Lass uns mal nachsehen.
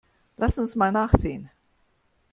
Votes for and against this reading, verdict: 2, 0, accepted